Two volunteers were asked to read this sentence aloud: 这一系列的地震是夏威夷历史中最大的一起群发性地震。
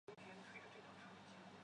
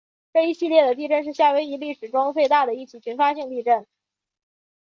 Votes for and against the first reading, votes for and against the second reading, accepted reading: 0, 2, 3, 0, second